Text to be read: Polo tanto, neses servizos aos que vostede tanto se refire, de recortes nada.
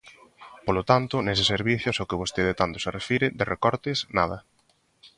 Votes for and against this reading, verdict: 2, 0, accepted